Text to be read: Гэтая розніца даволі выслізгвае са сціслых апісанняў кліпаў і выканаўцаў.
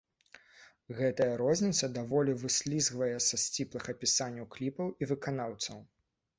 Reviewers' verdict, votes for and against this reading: rejected, 0, 2